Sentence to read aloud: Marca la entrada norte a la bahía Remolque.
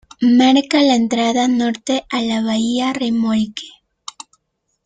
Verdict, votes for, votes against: rejected, 1, 2